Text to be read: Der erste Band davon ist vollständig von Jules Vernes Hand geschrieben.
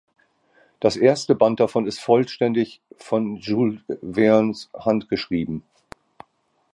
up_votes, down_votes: 0, 2